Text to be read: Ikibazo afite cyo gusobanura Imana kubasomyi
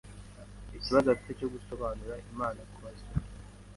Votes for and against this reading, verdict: 2, 0, accepted